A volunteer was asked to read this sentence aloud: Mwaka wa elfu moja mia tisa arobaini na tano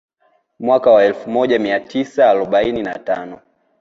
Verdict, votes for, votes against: accepted, 2, 0